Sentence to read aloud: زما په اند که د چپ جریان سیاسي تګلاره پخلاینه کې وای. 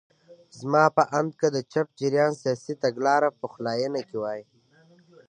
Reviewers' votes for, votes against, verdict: 2, 1, accepted